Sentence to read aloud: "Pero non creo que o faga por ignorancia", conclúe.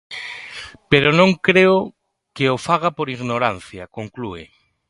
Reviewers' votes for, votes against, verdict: 2, 0, accepted